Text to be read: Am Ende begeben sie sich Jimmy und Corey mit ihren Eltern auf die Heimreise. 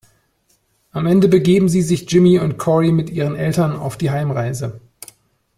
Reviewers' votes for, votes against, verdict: 2, 0, accepted